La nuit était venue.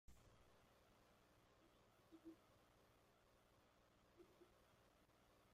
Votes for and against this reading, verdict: 0, 2, rejected